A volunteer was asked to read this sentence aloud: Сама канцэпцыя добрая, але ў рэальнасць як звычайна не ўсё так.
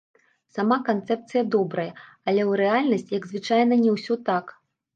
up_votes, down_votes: 3, 0